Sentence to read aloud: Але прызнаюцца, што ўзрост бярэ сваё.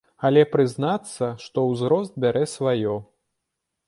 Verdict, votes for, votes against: rejected, 0, 2